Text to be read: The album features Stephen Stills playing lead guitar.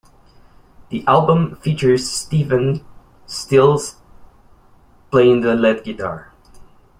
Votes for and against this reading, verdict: 0, 2, rejected